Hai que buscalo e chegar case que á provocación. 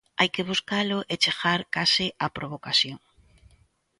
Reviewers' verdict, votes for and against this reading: rejected, 0, 2